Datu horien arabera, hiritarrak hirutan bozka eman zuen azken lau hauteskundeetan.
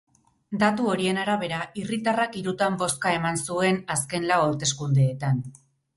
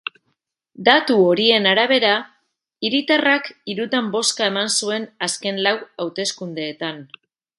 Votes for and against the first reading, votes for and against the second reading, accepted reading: 0, 4, 2, 0, second